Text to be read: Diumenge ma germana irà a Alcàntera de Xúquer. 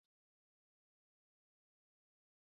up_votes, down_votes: 0, 2